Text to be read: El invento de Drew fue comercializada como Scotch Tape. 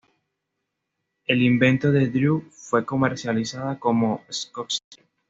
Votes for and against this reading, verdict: 2, 0, accepted